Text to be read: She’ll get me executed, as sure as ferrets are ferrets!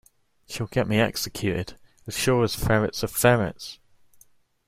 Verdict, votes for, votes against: accepted, 2, 0